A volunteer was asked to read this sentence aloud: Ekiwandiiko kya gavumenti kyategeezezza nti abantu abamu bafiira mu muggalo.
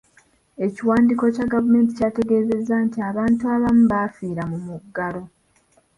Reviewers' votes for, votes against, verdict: 2, 1, accepted